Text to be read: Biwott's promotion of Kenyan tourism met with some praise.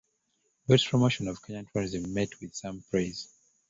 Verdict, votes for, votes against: rejected, 0, 2